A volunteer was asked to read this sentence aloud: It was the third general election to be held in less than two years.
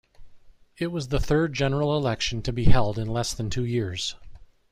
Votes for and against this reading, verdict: 2, 0, accepted